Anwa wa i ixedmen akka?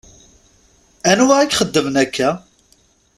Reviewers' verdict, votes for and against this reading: rejected, 0, 2